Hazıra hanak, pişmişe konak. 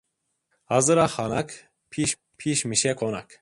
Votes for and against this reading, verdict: 0, 2, rejected